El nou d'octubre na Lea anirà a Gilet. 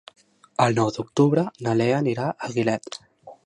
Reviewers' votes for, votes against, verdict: 2, 3, rejected